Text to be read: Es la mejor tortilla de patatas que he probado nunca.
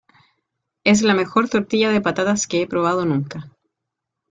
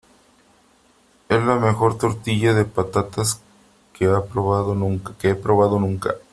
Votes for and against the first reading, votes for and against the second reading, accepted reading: 2, 0, 0, 3, first